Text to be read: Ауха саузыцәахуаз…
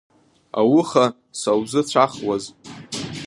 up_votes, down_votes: 1, 2